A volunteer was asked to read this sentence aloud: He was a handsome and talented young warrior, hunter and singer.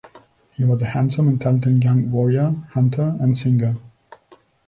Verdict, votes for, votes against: accepted, 2, 0